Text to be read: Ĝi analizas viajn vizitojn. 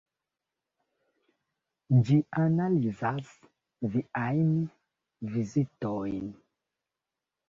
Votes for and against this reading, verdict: 1, 2, rejected